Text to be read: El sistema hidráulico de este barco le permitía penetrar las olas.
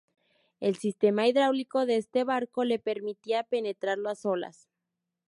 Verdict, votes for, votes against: rejected, 0, 2